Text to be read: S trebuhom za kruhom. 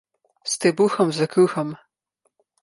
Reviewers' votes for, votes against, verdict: 0, 2, rejected